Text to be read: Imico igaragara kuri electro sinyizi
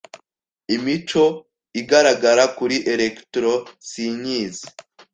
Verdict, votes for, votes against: accepted, 2, 0